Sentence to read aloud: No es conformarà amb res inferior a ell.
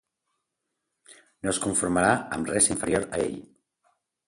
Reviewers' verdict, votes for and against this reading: accepted, 2, 0